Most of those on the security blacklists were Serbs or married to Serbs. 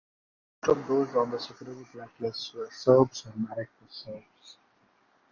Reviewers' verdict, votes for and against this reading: rejected, 1, 2